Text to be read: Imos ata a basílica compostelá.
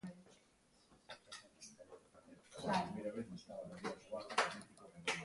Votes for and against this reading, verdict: 0, 2, rejected